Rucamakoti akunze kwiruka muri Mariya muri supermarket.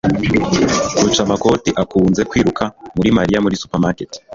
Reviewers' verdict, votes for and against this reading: rejected, 1, 2